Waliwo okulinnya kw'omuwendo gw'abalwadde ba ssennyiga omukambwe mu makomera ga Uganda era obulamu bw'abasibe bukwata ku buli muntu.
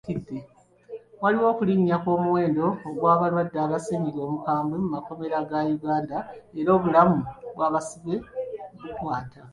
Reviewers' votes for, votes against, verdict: 0, 2, rejected